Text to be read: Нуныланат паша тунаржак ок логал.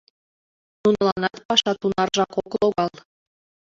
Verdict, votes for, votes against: rejected, 0, 2